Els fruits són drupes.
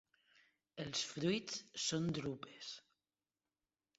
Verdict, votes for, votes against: accepted, 2, 0